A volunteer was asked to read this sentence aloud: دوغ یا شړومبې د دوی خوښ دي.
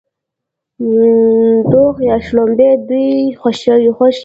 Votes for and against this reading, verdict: 0, 2, rejected